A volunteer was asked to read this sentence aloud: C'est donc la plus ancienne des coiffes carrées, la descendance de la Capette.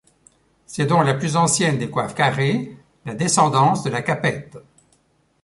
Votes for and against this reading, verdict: 0, 2, rejected